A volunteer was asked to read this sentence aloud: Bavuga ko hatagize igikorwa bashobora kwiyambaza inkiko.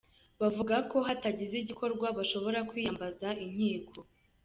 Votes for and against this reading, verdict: 1, 2, rejected